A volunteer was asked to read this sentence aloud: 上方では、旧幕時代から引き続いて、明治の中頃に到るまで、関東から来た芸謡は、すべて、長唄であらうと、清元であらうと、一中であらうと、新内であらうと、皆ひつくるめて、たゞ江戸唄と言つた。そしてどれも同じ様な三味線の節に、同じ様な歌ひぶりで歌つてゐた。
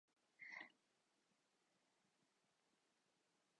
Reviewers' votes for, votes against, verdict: 1, 2, rejected